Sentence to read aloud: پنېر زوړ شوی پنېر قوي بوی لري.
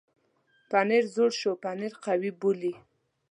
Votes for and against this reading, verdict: 1, 2, rejected